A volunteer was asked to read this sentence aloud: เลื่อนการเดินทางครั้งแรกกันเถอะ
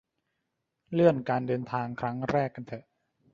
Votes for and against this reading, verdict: 1, 2, rejected